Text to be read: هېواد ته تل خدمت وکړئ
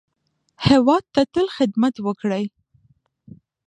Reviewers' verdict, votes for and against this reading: accepted, 2, 0